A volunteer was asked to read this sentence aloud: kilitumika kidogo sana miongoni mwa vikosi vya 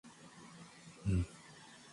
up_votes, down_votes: 0, 2